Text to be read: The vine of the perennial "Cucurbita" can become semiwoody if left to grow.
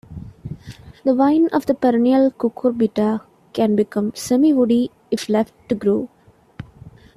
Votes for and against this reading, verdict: 1, 2, rejected